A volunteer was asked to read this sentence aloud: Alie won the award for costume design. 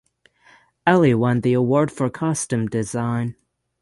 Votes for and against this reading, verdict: 6, 0, accepted